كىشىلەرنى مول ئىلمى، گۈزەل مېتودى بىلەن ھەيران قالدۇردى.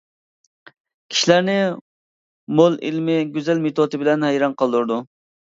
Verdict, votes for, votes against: rejected, 0, 2